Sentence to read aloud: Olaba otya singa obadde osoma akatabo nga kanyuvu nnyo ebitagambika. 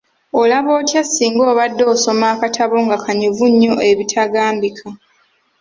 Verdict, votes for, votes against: accepted, 2, 0